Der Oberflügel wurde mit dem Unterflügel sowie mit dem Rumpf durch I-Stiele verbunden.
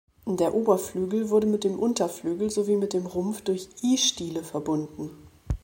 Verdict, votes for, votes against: accepted, 2, 0